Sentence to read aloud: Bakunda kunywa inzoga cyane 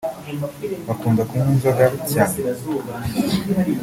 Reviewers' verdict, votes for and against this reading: accepted, 3, 0